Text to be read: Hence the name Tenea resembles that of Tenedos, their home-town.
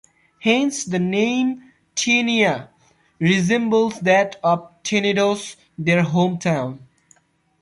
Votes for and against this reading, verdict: 2, 1, accepted